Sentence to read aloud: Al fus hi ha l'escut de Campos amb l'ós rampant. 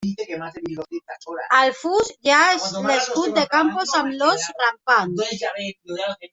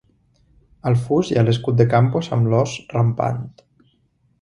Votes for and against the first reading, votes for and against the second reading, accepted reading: 0, 2, 2, 1, second